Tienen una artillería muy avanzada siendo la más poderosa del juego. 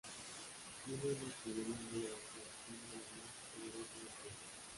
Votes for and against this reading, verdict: 0, 2, rejected